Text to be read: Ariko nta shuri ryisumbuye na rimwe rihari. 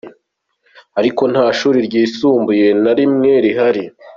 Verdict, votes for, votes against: accepted, 2, 1